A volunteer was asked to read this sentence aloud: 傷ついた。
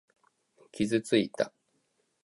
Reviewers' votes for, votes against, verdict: 2, 0, accepted